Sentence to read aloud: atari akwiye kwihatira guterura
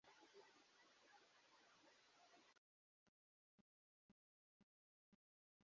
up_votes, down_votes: 1, 2